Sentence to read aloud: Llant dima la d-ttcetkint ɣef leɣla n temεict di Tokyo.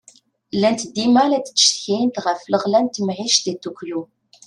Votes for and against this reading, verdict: 2, 0, accepted